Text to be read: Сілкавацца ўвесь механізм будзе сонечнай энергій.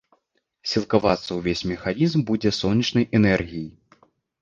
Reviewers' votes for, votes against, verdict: 2, 0, accepted